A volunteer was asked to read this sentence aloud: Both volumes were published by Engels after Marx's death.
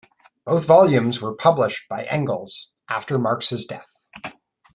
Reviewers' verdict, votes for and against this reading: accepted, 2, 0